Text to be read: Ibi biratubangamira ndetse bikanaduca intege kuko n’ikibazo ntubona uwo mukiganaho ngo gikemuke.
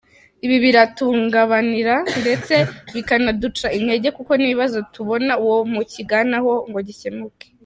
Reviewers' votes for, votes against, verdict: 0, 2, rejected